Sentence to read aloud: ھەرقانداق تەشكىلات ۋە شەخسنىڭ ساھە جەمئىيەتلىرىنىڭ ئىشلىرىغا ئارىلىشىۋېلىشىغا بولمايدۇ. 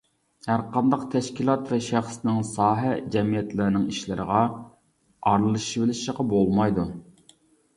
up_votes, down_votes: 0, 2